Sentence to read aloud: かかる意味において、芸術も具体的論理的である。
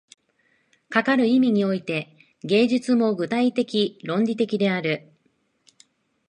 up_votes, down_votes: 2, 0